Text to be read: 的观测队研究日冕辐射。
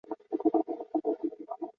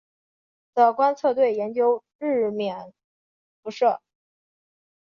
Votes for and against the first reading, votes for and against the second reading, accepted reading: 0, 2, 2, 0, second